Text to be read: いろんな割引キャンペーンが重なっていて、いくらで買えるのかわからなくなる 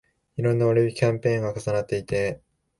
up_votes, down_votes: 0, 2